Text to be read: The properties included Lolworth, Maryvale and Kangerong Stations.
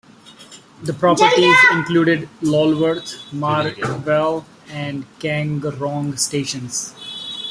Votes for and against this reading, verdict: 1, 2, rejected